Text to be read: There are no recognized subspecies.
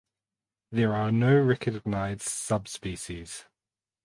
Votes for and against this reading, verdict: 2, 4, rejected